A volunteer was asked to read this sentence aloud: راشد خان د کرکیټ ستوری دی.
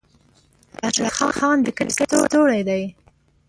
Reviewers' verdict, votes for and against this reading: rejected, 0, 2